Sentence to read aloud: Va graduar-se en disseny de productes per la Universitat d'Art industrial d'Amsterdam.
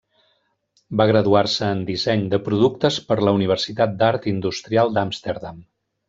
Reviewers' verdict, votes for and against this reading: rejected, 1, 2